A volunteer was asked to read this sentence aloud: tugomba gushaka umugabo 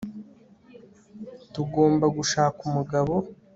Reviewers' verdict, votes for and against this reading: accepted, 2, 0